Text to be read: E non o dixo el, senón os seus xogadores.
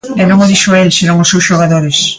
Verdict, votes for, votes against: accepted, 2, 0